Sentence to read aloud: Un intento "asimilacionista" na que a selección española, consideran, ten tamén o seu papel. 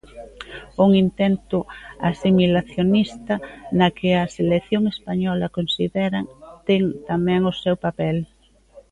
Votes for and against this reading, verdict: 2, 0, accepted